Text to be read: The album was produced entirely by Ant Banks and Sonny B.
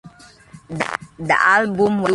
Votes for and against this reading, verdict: 0, 2, rejected